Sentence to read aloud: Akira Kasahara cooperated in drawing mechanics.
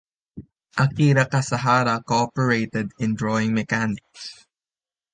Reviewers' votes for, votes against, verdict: 1, 2, rejected